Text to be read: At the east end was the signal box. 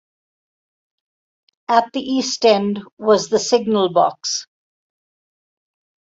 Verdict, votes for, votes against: accepted, 4, 0